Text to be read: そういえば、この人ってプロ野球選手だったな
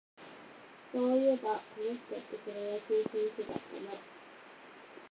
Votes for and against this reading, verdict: 0, 8, rejected